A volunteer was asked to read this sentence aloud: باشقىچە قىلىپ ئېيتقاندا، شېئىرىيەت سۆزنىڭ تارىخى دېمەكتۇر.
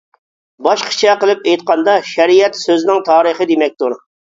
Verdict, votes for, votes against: rejected, 0, 2